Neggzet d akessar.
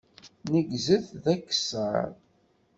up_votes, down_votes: 1, 2